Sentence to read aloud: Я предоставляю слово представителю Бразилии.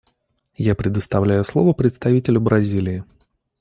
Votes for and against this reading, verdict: 2, 0, accepted